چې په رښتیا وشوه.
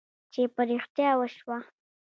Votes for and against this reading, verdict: 1, 2, rejected